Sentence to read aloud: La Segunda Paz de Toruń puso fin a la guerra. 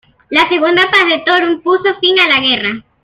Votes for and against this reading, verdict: 2, 0, accepted